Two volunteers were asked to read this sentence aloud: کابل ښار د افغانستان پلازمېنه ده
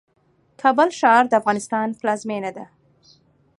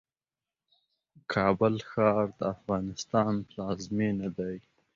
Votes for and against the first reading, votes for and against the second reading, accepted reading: 2, 0, 0, 2, first